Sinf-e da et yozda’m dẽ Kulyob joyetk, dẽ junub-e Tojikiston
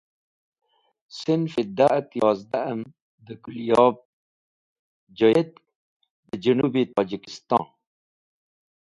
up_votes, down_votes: 1, 2